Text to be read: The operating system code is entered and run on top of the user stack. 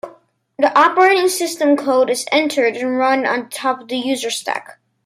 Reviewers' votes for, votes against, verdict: 2, 0, accepted